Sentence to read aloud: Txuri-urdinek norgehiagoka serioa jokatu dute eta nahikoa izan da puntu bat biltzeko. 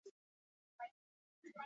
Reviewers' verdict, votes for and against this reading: rejected, 0, 4